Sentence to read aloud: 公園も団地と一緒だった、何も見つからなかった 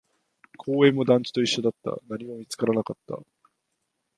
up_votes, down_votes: 2, 0